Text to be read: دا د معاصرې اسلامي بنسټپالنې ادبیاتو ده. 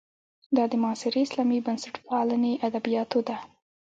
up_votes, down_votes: 1, 2